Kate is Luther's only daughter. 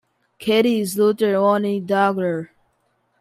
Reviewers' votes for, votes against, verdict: 2, 1, accepted